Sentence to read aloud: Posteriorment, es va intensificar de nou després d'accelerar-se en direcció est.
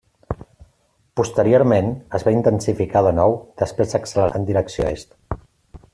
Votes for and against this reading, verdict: 0, 2, rejected